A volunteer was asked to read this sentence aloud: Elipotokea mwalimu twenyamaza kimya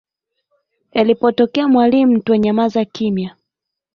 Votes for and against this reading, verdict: 2, 1, accepted